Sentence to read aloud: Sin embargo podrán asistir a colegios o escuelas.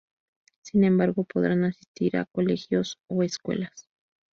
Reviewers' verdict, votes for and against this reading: rejected, 0, 2